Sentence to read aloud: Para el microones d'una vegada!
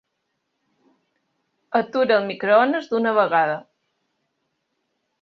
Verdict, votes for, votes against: rejected, 1, 2